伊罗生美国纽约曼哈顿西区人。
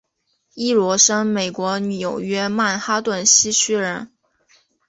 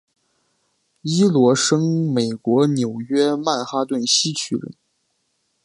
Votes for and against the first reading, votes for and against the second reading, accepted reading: 1, 2, 2, 1, second